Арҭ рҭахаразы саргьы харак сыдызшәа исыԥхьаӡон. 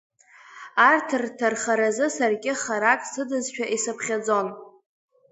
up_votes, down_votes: 2, 1